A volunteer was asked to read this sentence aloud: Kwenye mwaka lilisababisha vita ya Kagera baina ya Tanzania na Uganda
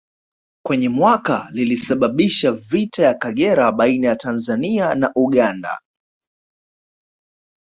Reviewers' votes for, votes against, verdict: 2, 0, accepted